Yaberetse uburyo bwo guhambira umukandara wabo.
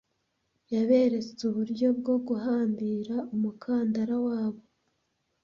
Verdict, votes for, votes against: accepted, 2, 0